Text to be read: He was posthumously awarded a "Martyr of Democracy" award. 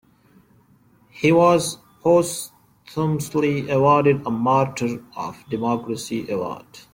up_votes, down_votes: 1, 2